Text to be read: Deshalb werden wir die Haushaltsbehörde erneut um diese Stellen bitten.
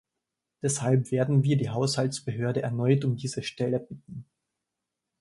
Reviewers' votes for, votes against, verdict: 1, 2, rejected